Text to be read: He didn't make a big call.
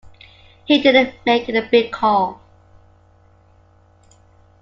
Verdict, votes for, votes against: accepted, 2, 0